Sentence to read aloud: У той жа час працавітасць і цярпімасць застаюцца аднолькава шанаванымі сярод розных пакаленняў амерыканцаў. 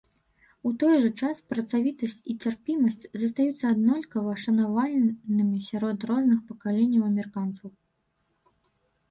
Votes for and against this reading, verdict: 0, 2, rejected